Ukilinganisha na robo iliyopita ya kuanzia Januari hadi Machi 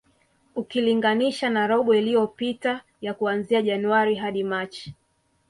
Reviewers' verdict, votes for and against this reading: accepted, 2, 0